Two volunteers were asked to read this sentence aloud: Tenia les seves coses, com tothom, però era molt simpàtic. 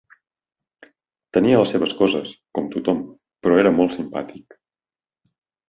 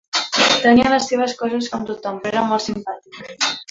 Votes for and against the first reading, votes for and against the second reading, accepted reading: 4, 0, 0, 2, first